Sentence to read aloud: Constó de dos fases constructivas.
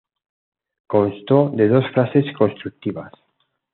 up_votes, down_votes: 2, 0